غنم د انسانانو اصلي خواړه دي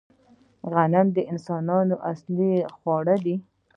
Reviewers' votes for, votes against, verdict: 2, 0, accepted